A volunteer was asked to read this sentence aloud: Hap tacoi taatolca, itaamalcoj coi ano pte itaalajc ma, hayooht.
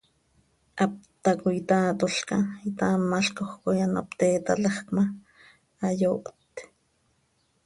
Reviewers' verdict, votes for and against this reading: accepted, 2, 0